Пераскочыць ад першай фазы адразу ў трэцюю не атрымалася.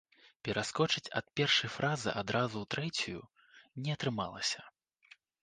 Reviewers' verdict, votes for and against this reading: rejected, 0, 2